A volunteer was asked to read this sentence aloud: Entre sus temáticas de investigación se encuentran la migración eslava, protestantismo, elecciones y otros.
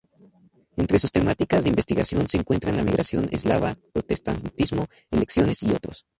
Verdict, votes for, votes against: rejected, 0, 2